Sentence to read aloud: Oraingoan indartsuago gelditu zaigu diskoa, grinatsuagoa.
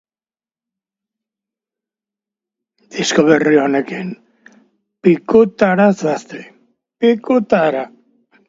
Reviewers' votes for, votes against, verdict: 1, 3, rejected